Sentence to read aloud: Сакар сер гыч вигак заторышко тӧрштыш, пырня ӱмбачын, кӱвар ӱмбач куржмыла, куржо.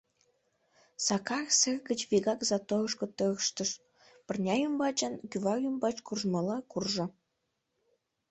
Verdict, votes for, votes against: rejected, 0, 2